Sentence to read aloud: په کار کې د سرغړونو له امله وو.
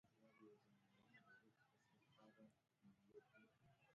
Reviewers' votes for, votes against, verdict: 0, 2, rejected